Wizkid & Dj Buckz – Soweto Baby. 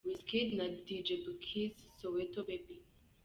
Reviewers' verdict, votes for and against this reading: rejected, 1, 2